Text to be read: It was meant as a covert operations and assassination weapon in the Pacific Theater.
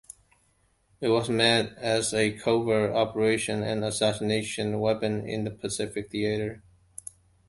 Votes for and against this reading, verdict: 1, 2, rejected